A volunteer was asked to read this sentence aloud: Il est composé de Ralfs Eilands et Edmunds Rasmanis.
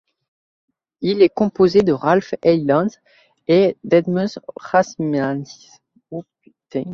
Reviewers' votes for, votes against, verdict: 0, 2, rejected